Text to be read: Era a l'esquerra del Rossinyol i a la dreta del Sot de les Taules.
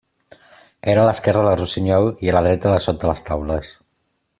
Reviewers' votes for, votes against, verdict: 2, 0, accepted